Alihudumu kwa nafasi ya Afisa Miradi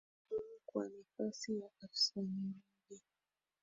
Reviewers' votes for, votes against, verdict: 1, 2, rejected